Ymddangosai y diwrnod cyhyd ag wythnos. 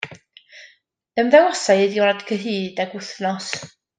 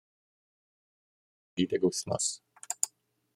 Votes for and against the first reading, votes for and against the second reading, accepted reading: 2, 0, 0, 2, first